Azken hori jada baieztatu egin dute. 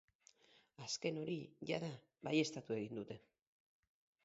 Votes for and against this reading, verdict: 4, 0, accepted